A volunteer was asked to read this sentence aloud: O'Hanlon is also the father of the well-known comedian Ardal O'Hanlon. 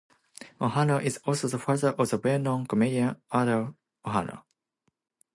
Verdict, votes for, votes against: rejected, 1, 2